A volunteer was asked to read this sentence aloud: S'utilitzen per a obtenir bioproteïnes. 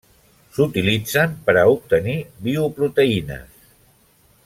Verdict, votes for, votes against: accepted, 3, 0